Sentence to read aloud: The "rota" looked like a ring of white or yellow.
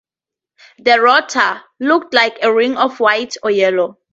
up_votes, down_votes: 4, 0